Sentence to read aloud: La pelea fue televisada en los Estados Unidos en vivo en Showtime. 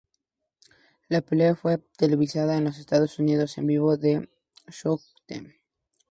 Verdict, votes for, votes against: rejected, 0, 2